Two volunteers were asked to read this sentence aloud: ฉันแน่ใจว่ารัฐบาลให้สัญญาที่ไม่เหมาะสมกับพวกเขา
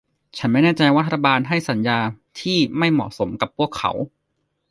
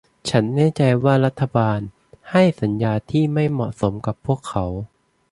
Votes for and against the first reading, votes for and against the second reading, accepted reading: 1, 2, 2, 0, second